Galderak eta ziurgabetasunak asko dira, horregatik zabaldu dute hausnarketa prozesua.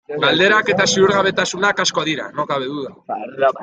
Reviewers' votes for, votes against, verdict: 0, 2, rejected